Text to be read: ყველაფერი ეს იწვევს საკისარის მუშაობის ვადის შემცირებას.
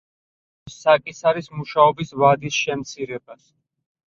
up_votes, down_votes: 0, 4